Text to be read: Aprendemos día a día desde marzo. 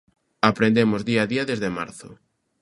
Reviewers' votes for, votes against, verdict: 2, 0, accepted